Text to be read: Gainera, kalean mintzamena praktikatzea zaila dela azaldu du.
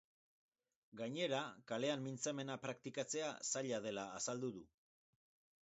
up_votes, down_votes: 0, 2